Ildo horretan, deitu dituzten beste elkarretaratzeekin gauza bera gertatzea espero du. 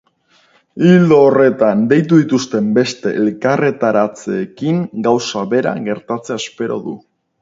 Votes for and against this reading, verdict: 0, 4, rejected